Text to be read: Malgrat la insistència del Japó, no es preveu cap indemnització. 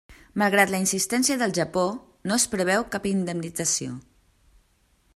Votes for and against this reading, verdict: 3, 0, accepted